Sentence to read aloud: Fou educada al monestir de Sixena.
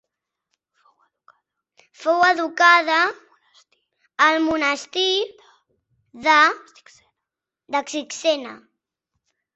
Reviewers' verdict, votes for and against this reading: rejected, 0, 2